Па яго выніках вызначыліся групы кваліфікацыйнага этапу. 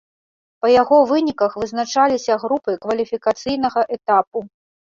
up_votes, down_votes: 0, 2